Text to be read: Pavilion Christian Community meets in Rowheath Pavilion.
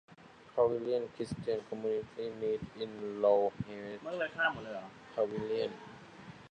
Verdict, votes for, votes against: rejected, 1, 2